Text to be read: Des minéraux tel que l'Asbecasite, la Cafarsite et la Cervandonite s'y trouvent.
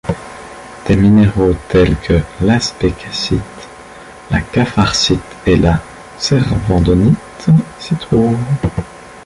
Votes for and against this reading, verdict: 2, 0, accepted